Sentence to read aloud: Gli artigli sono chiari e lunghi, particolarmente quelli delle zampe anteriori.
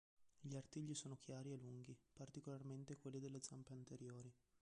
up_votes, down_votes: 1, 2